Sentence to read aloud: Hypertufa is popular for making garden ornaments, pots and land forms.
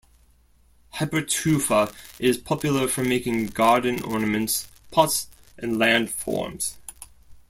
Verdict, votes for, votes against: accepted, 2, 0